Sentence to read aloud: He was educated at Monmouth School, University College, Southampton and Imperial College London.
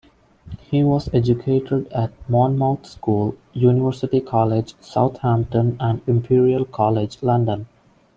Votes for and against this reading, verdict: 2, 1, accepted